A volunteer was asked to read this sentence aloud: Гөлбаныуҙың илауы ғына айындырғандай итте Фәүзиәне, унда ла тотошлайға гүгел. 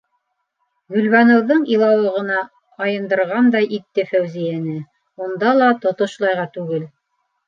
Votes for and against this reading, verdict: 3, 0, accepted